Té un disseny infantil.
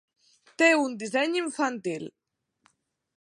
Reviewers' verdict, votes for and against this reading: accepted, 3, 0